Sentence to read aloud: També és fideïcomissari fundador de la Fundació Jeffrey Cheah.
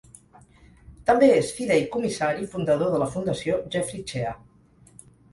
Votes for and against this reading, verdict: 2, 4, rejected